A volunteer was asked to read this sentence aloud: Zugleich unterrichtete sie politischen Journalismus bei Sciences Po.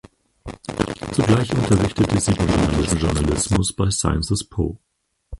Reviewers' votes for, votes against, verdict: 2, 4, rejected